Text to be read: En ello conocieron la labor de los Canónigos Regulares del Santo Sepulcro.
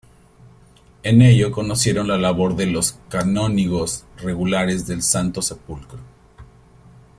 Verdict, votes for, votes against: accepted, 2, 0